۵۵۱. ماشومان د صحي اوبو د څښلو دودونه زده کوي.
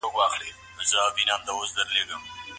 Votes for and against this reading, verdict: 0, 2, rejected